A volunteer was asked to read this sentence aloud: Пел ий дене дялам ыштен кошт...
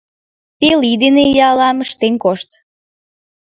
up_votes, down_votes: 1, 2